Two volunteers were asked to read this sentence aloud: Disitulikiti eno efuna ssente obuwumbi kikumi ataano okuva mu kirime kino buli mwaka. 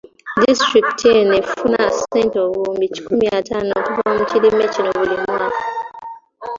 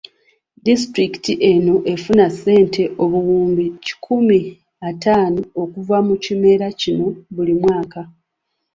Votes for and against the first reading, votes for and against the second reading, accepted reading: 2, 1, 1, 2, first